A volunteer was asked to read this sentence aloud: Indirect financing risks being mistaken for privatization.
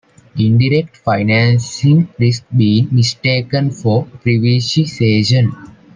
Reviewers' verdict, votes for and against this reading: rejected, 0, 2